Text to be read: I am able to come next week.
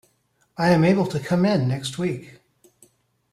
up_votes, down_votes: 0, 2